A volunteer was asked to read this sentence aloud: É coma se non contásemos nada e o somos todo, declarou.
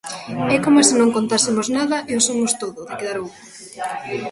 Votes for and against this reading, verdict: 2, 0, accepted